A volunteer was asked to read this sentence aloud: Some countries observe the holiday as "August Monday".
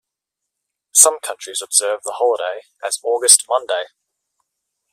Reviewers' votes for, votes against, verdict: 2, 0, accepted